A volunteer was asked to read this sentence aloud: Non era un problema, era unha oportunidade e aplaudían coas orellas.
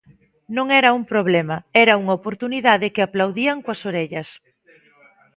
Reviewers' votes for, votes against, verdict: 0, 2, rejected